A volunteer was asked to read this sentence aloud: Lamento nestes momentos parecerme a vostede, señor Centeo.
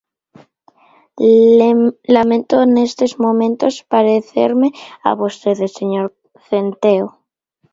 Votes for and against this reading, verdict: 1, 2, rejected